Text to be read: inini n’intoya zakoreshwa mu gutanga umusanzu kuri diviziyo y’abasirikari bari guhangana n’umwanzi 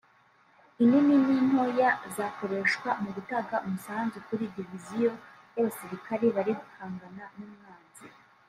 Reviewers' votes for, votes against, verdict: 0, 2, rejected